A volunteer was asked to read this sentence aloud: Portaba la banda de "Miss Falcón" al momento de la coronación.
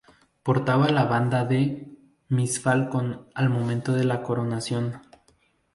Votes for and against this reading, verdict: 0, 2, rejected